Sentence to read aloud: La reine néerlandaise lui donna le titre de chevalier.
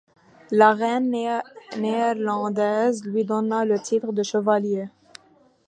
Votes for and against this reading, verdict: 2, 0, accepted